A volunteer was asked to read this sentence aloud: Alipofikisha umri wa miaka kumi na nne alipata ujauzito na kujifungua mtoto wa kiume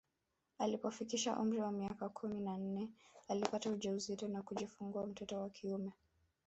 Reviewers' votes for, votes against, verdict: 1, 2, rejected